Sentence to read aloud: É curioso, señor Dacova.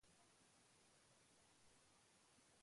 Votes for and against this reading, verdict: 0, 2, rejected